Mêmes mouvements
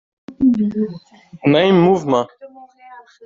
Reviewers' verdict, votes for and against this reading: rejected, 2, 3